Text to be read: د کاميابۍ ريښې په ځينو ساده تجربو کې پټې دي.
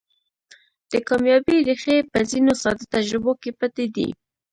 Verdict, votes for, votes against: accepted, 2, 1